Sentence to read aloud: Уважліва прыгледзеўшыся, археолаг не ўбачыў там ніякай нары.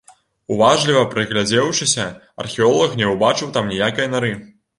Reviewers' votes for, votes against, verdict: 0, 2, rejected